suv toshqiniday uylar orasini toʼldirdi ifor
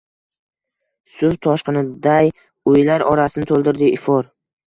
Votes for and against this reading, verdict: 1, 2, rejected